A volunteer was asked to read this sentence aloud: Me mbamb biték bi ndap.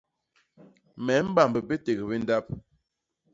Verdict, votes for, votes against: rejected, 0, 2